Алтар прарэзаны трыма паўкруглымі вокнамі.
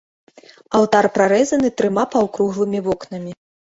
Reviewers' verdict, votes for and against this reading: accepted, 2, 0